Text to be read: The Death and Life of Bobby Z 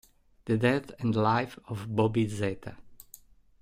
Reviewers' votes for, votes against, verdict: 3, 1, accepted